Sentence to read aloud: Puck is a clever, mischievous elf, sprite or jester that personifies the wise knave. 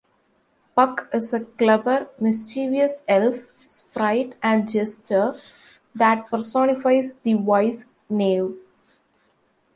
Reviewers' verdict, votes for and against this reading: rejected, 0, 2